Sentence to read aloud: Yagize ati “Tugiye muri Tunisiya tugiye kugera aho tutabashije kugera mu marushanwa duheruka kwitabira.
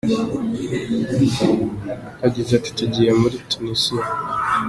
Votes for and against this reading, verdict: 0, 2, rejected